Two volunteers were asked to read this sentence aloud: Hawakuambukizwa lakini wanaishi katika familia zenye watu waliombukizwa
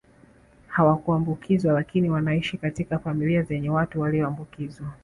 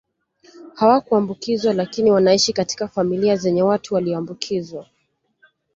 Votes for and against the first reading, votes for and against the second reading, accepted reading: 1, 2, 2, 0, second